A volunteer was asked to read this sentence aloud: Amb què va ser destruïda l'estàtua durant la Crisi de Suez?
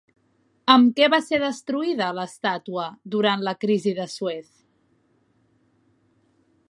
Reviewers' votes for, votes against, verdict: 0, 2, rejected